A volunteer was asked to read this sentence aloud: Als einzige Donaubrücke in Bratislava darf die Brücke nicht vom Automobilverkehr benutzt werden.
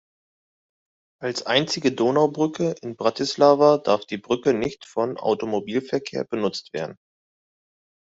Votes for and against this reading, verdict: 2, 0, accepted